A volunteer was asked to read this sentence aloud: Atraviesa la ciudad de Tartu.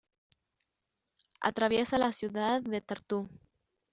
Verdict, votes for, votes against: rejected, 0, 2